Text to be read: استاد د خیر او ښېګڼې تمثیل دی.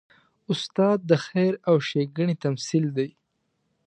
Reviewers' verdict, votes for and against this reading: accepted, 2, 0